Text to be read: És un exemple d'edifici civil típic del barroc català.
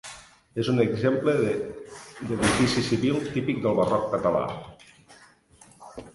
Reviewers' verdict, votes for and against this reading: rejected, 0, 2